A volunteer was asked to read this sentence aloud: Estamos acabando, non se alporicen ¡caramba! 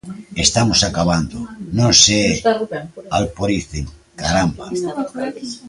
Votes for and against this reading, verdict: 1, 2, rejected